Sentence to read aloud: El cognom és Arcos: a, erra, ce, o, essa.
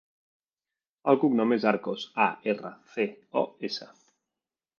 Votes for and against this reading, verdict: 0, 2, rejected